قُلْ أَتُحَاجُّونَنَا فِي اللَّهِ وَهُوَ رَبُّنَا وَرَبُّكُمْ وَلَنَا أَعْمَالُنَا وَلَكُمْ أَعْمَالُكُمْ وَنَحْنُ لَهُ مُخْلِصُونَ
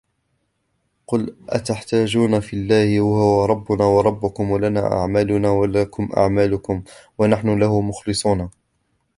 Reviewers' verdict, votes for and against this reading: rejected, 1, 2